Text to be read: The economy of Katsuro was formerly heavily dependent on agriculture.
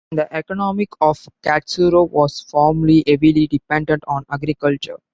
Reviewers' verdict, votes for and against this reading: accepted, 2, 0